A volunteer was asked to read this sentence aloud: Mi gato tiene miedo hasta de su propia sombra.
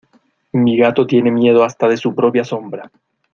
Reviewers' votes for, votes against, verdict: 2, 0, accepted